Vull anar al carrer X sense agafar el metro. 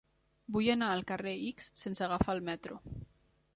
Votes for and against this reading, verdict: 1, 2, rejected